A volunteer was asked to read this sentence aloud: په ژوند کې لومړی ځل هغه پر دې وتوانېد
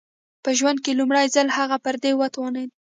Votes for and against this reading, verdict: 2, 0, accepted